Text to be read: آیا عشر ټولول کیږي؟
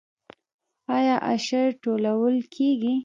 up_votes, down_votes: 2, 0